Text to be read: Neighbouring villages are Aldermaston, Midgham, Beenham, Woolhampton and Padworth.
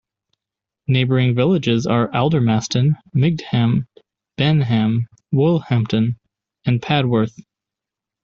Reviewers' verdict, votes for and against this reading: rejected, 1, 2